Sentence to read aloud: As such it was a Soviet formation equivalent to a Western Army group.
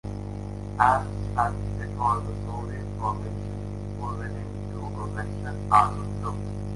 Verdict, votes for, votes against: rejected, 1, 2